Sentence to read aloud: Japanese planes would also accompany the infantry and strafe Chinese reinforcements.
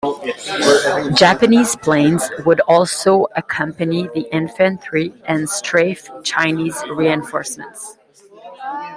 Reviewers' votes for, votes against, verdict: 2, 1, accepted